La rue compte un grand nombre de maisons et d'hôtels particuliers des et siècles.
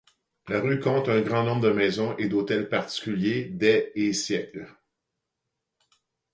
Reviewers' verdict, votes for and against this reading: accepted, 2, 0